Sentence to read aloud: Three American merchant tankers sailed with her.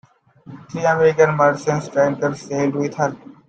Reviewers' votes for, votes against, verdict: 1, 2, rejected